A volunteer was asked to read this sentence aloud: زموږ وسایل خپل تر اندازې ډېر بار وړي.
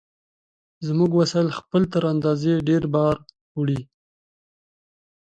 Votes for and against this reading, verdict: 2, 0, accepted